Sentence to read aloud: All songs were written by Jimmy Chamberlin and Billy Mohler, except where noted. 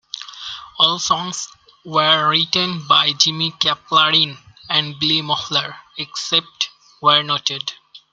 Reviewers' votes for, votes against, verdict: 1, 2, rejected